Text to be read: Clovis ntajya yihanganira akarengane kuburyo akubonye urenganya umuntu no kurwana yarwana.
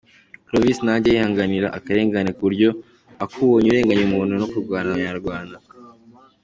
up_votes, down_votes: 2, 0